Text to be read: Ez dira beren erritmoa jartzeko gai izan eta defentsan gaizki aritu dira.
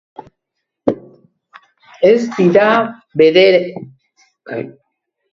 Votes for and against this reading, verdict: 0, 2, rejected